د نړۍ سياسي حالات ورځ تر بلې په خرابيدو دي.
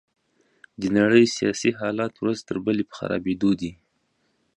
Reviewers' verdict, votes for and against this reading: accepted, 2, 0